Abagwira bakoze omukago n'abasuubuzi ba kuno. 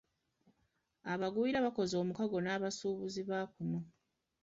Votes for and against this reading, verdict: 2, 0, accepted